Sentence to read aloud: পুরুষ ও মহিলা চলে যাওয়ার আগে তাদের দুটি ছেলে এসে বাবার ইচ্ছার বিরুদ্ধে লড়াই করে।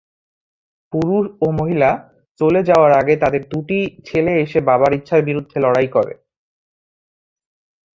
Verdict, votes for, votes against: rejected, 0, 2